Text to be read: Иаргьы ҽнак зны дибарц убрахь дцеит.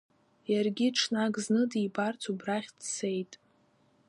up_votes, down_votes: 2, 1